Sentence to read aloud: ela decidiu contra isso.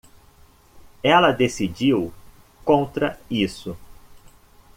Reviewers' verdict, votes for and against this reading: accepted, 2, 0